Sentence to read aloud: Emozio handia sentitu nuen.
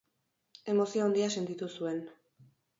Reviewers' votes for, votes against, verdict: 4, 6, rejected